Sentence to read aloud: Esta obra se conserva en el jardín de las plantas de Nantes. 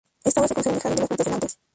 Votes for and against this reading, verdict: 0, 2, rejected